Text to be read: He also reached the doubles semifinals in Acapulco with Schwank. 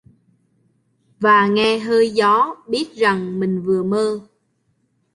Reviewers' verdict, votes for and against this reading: rejected, 0, 3